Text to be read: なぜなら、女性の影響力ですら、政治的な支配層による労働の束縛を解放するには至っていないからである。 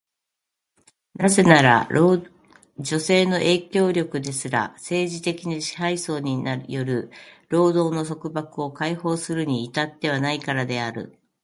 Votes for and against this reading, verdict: 1, 2, rejected